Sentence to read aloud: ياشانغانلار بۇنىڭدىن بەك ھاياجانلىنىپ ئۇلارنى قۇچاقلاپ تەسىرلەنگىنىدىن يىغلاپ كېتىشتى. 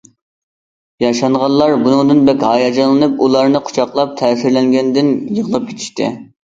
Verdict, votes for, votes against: rejected, 0, 2